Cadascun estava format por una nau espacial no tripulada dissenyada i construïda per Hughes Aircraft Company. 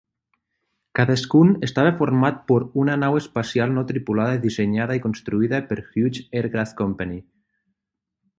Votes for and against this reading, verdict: 3, 3, rejected